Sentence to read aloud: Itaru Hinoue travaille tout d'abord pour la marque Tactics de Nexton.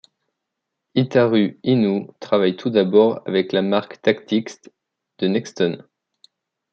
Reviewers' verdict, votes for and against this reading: rejected, 0, 2